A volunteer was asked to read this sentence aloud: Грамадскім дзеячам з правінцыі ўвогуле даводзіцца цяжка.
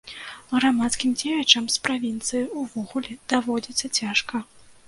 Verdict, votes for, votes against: rejected, 1, 2